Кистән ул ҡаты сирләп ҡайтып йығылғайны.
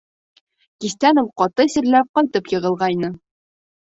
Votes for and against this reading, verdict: 3, 0, accepted